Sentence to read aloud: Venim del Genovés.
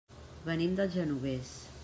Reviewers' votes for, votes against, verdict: 3, 0, accepted